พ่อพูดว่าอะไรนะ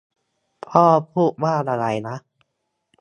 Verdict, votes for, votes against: accepted, 2, 0